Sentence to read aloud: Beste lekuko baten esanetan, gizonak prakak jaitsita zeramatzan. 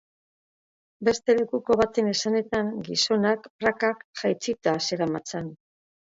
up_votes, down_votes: 2, 0